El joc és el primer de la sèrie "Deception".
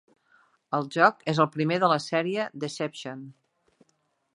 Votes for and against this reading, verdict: 3, 0, accepted